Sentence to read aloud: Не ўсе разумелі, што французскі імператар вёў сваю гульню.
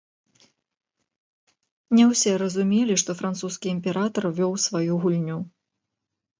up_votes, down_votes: 1, 2